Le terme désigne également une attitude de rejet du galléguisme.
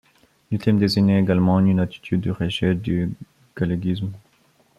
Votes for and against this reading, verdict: 1, 2, rejected